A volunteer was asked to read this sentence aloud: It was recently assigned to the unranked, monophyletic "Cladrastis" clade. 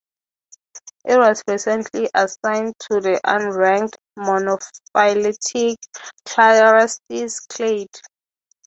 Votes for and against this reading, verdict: 0, 3, rejected